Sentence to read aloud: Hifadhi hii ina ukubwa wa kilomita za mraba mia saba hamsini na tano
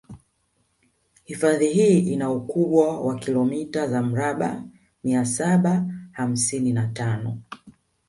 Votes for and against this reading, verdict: 3, 2, accepted